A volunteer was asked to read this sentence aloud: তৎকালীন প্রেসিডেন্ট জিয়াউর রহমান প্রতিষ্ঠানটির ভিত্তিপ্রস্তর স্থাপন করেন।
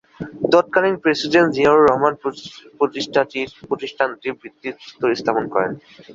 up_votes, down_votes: 2, 1